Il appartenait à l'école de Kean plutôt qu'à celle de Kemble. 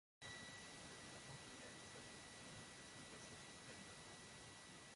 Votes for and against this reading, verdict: 0, 2, rejected